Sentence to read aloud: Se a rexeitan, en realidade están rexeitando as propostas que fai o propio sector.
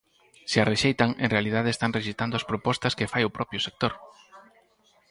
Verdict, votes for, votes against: rejected, 2, 4